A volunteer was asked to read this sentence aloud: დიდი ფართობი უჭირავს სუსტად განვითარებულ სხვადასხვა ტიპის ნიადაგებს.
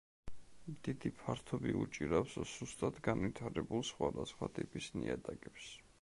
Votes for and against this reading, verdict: 2, 0, accepted